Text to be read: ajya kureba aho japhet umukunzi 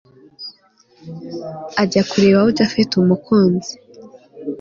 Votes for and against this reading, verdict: 2, 0, accepted